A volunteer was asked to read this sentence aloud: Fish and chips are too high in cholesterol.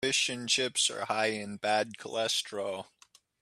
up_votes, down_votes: 0, 2